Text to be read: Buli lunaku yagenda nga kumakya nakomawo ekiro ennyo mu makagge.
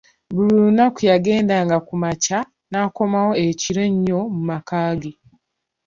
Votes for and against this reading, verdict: 2, 0, accepted